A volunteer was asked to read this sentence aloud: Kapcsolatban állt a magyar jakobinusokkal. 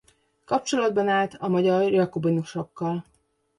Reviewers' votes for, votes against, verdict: 2, 1, accepted